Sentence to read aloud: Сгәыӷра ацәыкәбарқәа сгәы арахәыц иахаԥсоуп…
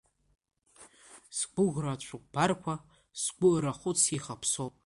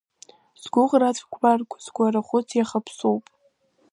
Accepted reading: first